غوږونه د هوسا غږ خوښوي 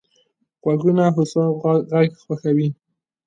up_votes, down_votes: 2, 4